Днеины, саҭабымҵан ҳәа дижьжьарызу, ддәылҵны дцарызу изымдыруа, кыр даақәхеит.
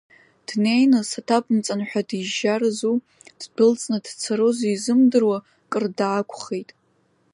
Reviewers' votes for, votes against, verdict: 2, 0, accepted